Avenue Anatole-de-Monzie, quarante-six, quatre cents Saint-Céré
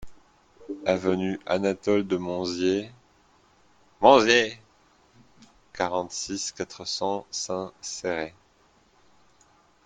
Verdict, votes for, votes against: rejected, 0, 2